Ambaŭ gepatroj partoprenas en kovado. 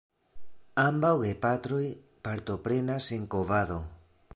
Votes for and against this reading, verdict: 2, 0, accepted